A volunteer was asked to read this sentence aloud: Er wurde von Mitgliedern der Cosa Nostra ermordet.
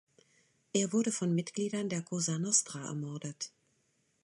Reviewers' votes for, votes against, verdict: 2, 0, accepted